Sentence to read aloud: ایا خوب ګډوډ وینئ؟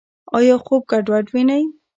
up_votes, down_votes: 0, 2